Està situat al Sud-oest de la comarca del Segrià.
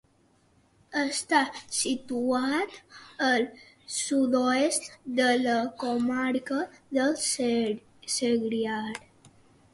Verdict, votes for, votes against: rejected, 0, 2